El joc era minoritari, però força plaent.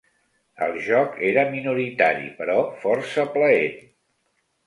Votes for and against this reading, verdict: 2, 0, accepted